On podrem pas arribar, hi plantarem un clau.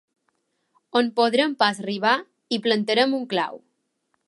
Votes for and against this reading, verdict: 2, 1, accepted